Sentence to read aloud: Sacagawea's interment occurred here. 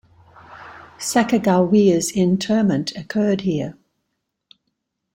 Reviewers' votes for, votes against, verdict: 2, 0, accepted